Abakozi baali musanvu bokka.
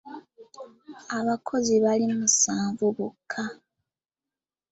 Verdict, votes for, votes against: accepted, 2, 0